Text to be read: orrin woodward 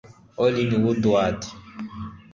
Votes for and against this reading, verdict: 0, 2, rejected